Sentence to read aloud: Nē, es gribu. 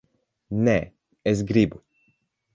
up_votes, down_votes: 8, 0